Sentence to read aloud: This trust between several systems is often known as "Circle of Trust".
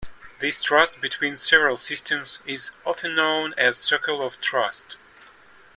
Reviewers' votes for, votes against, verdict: 2, 0, accepted